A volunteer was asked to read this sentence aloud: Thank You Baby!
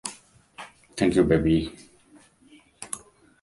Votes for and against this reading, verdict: 2, 0, accepted